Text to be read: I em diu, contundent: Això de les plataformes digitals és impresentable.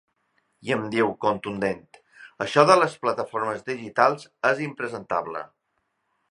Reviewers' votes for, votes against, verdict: 4, 0, accepted